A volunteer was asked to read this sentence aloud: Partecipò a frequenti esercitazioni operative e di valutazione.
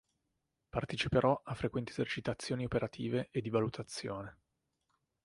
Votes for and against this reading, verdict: 1, 2, rejected